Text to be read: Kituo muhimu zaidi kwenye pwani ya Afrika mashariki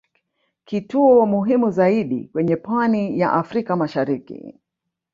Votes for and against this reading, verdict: 0, 2, rejected